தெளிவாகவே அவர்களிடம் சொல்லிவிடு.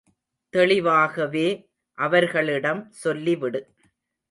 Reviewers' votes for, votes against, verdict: 2, 0, accepted